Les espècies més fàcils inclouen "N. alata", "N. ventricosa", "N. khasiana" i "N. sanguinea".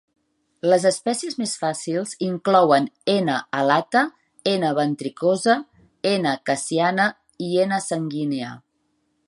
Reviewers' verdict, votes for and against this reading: accepted, 2, 0